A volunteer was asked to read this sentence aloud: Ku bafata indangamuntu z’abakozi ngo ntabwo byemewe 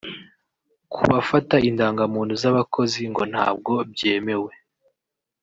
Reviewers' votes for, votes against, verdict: 2, 0, accepted